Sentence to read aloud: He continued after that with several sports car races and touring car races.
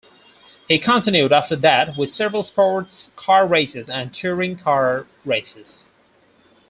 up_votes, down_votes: 4, 0